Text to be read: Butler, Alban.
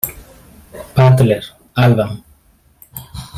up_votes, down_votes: 1, 2